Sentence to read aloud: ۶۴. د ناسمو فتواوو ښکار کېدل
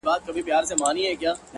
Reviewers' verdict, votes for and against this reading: rejected, 0, 2